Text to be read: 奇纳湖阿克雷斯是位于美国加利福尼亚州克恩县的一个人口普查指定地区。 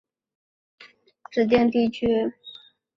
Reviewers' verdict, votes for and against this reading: rejected, 0, 3